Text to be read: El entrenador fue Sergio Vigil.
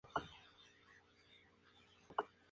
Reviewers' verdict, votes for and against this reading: rejected, 0, 2